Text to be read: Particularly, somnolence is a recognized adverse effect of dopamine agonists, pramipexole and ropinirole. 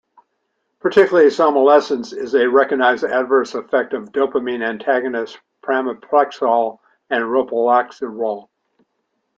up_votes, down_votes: 1, 2